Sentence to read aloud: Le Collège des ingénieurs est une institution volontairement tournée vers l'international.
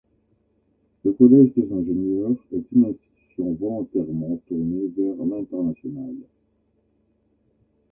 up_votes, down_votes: 2, 1